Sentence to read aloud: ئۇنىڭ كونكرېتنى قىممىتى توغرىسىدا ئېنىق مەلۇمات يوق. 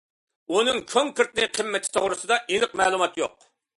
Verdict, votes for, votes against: accepted, 2, 0